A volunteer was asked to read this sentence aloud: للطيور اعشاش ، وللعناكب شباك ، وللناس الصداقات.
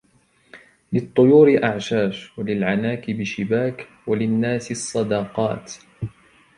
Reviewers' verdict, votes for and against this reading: accepted, 2, 1